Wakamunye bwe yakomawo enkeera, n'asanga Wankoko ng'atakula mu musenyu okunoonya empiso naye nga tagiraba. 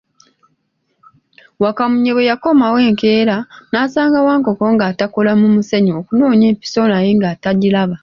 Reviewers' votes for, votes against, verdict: 1, 2, rejected